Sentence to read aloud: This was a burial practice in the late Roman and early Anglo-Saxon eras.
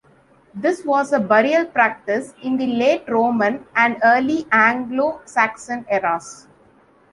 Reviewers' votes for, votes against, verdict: 2, 0, accepted